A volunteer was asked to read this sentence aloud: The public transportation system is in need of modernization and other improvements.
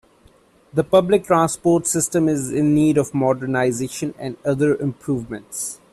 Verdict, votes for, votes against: accepted, 2, 1